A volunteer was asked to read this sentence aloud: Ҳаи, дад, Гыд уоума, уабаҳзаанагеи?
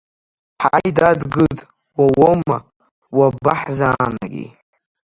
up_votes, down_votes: 1, 2